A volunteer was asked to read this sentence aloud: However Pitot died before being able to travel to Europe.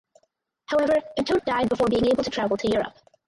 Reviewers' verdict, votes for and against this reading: rejected, 2, 4